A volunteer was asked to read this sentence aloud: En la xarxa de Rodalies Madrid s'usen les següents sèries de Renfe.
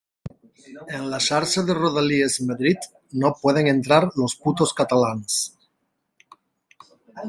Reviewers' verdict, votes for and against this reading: rejected, 0, 2